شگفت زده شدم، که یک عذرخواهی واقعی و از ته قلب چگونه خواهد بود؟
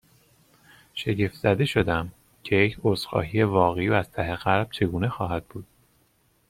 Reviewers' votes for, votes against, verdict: 2, 0, accepted